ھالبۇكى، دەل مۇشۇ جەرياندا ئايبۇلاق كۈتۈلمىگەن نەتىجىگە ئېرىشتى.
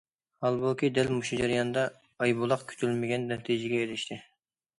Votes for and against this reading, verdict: 2, 0, accepted